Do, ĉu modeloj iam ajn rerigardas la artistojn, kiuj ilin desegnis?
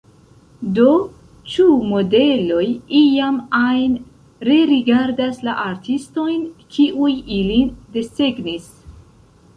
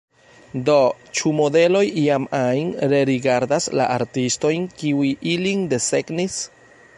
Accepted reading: second